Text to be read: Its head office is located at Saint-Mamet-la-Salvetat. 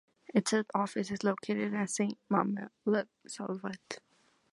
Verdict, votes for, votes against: rejected, 1, 2